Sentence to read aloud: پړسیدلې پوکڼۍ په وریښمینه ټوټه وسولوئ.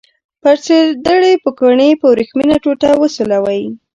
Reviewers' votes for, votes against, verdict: 1, 2, rejected